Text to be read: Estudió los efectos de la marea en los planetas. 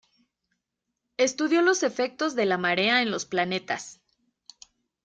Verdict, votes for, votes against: accepted, 2, 0